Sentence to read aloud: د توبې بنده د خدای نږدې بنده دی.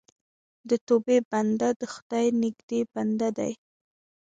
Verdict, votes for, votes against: accepted, 2, 1